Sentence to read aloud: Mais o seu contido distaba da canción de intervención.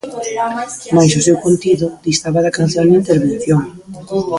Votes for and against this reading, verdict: 0, 2, rejected